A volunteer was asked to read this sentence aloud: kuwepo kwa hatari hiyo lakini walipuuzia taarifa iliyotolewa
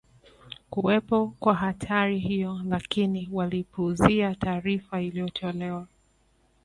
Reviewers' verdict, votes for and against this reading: accepted, 2, 0